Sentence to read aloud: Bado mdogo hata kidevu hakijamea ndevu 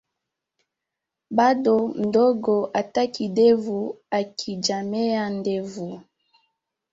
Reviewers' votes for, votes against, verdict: 2, 0, accepted